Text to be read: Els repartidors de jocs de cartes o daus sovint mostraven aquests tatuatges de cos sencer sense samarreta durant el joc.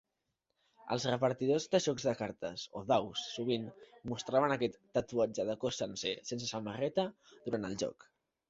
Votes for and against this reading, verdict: 1, 2, rejected